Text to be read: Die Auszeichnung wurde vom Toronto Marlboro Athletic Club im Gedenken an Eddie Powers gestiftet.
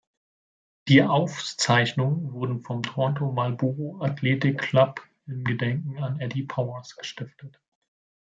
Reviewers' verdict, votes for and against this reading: accepted, 2, 0